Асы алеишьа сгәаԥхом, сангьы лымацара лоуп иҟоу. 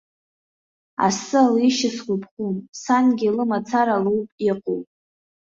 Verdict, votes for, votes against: accepted, 2, 0